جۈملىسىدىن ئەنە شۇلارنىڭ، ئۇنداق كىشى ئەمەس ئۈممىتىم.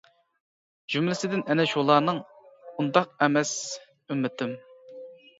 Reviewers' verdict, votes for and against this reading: rejected, 0, 2